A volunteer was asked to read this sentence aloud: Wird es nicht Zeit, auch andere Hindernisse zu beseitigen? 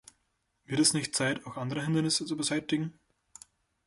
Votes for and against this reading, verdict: 0, 2, rejected